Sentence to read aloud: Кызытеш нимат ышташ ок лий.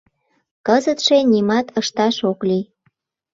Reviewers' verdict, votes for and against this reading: rejected, 1, 2